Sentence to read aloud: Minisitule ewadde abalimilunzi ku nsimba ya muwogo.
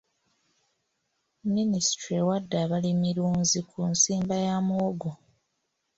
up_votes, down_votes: 2, 0